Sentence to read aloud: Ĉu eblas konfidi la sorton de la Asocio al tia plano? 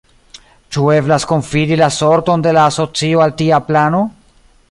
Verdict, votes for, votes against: rejected, 1, 2